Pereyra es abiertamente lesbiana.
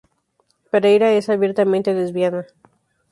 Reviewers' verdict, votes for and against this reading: accepted, 2, 0